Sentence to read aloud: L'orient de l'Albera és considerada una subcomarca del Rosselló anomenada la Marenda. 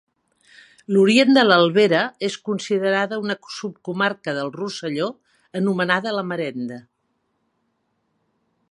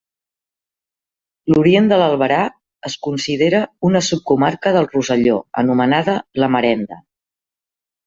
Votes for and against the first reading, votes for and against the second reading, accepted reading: 2, 1, 1, 2, first